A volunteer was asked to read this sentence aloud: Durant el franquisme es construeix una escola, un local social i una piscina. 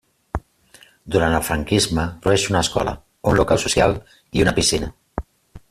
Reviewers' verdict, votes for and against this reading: rejected, 1, 2